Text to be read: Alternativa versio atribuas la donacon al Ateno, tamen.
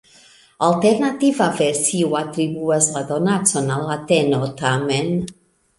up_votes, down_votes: 2, 0